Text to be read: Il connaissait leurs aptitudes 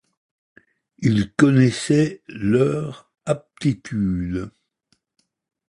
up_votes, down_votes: 2, 0